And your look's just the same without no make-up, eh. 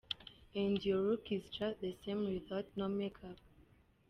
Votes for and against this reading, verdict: 1, 2, rejected